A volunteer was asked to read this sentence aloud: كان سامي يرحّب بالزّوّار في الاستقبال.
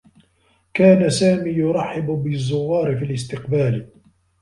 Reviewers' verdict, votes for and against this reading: accepted, 2, 1